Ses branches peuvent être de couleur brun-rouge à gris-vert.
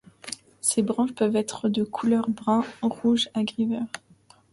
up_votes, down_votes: 2, 0